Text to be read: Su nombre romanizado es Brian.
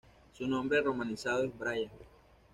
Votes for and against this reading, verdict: 0, 2, rejected